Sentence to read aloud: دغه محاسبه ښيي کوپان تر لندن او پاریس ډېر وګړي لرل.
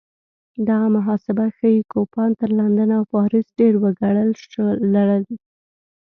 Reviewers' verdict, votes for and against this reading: accepted, 2, 0